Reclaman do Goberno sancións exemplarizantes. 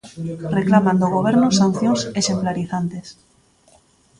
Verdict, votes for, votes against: rejected, 0, 2